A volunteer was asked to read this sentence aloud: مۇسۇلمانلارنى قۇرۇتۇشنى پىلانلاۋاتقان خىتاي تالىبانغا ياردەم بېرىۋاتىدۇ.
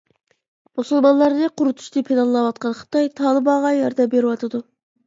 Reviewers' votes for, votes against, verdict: 0, 2, rejected